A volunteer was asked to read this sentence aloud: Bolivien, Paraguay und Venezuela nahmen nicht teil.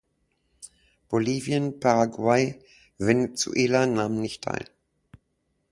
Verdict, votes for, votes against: rejected, 1, 2